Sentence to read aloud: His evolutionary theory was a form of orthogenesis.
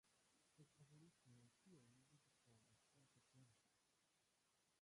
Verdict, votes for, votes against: rejected, 0, 2